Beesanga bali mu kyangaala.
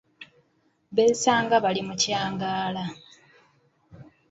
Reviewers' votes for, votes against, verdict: 3, 0, accepted